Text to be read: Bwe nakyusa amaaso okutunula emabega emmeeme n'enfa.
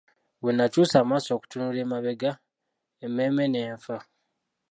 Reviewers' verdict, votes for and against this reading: rejected, 0, 2